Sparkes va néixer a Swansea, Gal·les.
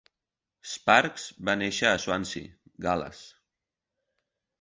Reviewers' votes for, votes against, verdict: 4, 0, accepted